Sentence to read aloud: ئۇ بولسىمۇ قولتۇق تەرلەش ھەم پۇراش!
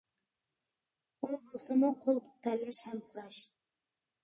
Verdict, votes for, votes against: rejected, 1, 2